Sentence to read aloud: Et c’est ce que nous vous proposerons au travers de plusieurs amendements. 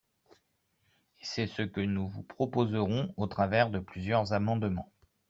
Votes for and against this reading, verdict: 2, 3, rejected